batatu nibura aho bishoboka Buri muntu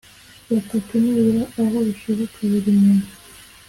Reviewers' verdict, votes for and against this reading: accepted, 2, 0